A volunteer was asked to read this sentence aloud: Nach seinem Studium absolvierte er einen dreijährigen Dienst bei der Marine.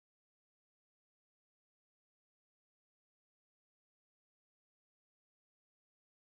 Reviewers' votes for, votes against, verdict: 0, 2, rejected